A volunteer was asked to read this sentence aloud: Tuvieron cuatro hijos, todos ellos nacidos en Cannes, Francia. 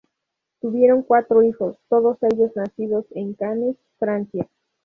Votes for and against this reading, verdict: 2, 0, accepted